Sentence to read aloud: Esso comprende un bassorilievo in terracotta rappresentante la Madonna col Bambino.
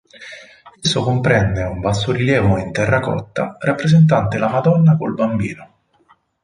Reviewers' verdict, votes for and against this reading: rejected, 2, 2